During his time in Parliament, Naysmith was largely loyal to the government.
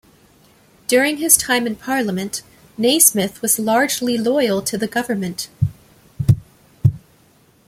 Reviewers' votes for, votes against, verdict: 2, 0, accepted